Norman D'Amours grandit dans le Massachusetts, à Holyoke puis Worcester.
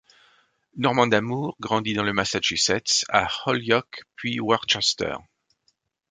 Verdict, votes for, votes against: accepted, 2, 0